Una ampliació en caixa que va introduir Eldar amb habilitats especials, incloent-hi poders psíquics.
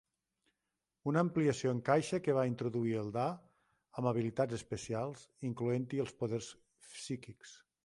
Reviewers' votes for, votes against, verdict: 0, 2, rejected